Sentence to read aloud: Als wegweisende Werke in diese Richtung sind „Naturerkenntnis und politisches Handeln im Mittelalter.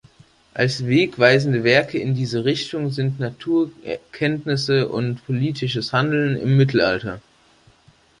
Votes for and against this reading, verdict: 1, 3, rejected